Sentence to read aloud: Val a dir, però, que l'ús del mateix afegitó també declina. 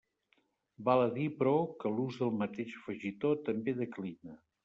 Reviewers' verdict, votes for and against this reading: rejected, 1, 2